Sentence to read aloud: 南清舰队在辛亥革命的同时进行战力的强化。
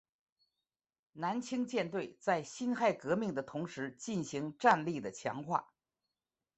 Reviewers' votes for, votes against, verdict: 3, 1, accepted